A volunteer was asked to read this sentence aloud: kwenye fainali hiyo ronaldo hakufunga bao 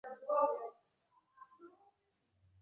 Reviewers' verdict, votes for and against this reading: rejected, 0, 2